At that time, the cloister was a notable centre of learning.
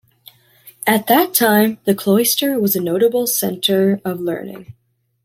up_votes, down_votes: 2, 0